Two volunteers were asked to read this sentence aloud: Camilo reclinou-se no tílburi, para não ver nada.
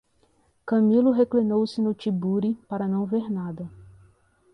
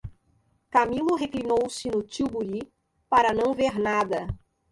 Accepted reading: second